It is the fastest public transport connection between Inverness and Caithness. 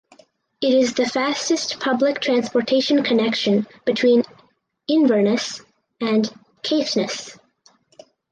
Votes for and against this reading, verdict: 0, 4, rejected